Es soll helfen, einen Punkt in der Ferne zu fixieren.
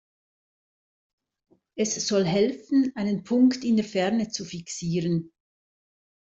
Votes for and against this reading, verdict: 2, 0, accepted